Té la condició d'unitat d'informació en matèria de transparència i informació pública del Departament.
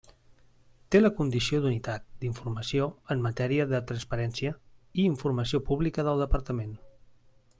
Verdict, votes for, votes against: accepted, 3, 0